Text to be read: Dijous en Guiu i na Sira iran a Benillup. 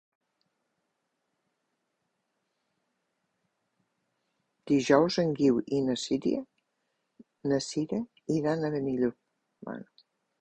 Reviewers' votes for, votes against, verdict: 0, 2, rejected